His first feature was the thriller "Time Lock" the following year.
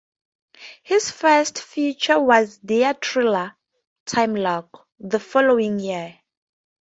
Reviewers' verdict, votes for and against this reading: rejected, 0, 2